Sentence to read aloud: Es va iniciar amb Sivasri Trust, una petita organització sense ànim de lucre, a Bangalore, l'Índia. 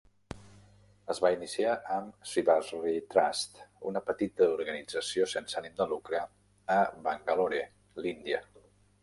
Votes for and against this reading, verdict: 2, 0, accepted